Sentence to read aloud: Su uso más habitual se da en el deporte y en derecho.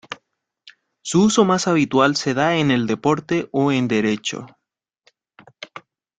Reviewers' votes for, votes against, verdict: 0, 2, rejected